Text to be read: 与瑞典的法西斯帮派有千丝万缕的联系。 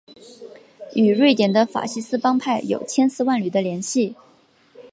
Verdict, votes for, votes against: accepted, 2, 0